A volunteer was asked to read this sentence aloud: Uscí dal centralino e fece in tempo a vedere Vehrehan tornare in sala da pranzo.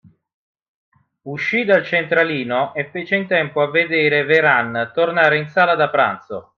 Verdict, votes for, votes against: rejected, 0, 2